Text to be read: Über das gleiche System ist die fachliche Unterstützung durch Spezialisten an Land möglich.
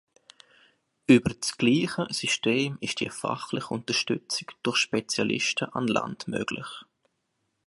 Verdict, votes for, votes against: accepted, 3, 0